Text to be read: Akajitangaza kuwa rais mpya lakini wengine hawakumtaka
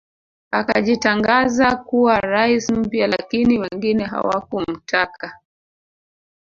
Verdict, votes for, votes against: accepted, 3, 1